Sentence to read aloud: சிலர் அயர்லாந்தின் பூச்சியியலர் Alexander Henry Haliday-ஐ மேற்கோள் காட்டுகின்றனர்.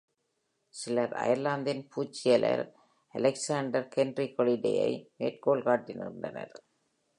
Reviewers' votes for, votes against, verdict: 2, 1, accepted